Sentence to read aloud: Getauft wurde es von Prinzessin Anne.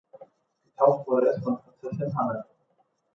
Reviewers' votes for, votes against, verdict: 0, 2, rejected